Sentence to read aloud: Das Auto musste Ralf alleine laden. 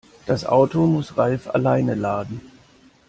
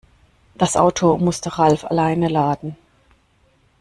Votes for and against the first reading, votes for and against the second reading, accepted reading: 0, 2, 2, 0, second